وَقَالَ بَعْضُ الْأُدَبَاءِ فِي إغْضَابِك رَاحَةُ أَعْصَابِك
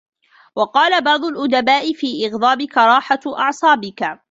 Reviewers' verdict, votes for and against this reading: accepted, 2, 1